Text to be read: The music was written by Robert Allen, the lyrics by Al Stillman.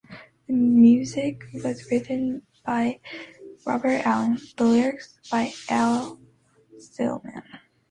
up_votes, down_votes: 2, 0